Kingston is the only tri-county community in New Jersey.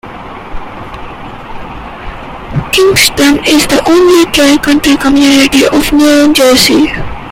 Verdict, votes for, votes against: rejected, 0, 2